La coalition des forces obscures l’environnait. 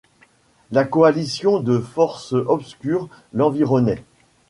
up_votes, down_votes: 1, 2